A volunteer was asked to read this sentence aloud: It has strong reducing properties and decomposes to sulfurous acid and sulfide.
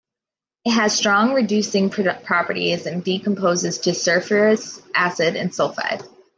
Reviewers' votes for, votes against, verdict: 1, 2, rejected